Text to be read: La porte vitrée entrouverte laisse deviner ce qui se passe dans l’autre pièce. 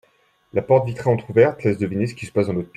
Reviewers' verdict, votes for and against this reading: rejected, 0, 2